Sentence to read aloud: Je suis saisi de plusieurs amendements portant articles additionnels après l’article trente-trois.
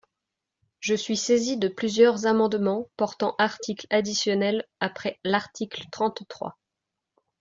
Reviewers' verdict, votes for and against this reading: accepted, 2, 1